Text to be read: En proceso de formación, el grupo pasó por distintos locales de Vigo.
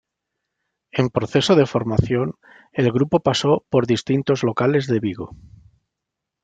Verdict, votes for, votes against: accepted, 2, 0